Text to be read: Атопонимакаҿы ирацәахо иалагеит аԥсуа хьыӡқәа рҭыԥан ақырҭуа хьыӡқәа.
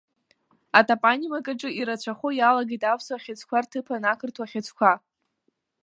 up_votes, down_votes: 1, 2